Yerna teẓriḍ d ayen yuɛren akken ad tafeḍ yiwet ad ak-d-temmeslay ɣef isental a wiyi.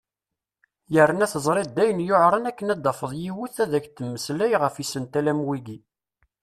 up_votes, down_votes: 2, 0